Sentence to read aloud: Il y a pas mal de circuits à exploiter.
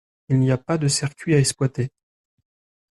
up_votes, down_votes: 1, 2